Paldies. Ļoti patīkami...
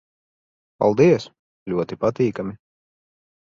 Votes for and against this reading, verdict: 2, 0, accepted